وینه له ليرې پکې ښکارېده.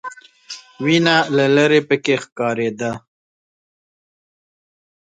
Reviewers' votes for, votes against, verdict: 0, 2, rejected